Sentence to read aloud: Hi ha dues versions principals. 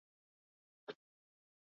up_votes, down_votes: 0, 6